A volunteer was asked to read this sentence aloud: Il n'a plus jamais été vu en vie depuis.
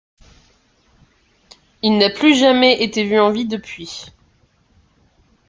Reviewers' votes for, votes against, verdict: 0, 2, rejected